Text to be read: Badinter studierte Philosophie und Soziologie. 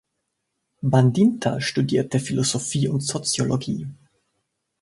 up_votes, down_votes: 0, 2